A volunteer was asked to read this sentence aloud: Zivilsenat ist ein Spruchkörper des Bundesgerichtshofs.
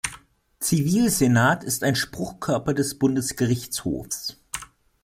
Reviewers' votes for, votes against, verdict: 2, 0, accepted